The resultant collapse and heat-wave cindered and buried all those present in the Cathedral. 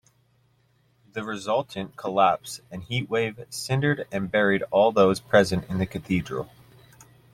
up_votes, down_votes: 2, 0